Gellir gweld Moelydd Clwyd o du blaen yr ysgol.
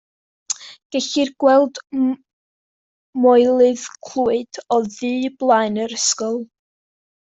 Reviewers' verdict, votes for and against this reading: rejected, 0, 2